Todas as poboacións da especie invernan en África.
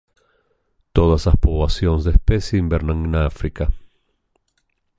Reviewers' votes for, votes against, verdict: 1, 2, rejected